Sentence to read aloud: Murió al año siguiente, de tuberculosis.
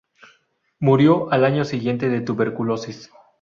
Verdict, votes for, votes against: accepted, 4, 0